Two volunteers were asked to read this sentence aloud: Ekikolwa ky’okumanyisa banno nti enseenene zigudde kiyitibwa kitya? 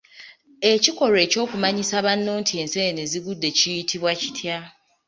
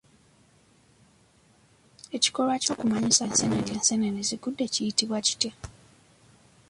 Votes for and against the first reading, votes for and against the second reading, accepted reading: 2, 0, 1, 2, first